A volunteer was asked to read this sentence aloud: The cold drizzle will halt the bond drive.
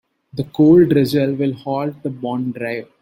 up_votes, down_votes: 2, 0